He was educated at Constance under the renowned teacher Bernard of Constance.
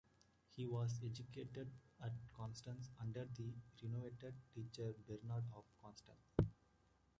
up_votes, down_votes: 2, 1